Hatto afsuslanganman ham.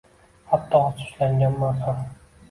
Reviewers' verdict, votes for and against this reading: accepted, 2, 0